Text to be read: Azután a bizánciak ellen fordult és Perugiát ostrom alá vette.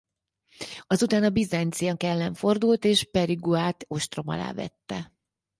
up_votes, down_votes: 2, 2